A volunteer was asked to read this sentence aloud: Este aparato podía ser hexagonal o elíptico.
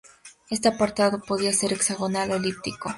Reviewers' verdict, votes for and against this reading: rejected, 0, 2